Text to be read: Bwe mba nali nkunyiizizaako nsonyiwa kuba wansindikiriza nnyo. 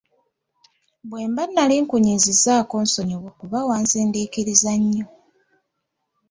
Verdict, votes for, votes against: accepted, 2, 0